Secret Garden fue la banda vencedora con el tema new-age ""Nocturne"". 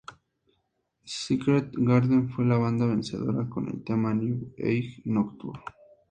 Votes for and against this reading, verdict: 2, 0, accepted